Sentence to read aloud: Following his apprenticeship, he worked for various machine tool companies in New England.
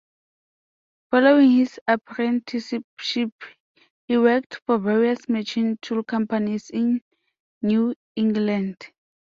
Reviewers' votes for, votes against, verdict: 0, 2, rejected